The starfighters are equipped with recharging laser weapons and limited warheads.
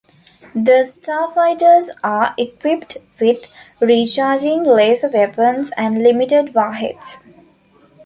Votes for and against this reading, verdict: 2, 0, accepted